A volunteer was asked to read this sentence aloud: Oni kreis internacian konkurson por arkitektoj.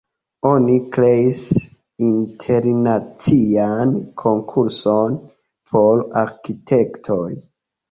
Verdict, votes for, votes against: accepted, 2, 1